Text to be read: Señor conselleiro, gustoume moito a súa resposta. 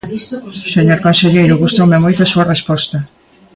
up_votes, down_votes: 0, 2